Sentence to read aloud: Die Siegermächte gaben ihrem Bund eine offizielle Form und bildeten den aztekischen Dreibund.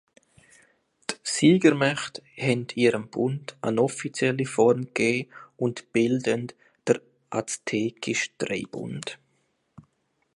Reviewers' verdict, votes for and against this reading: rejected, 0, 2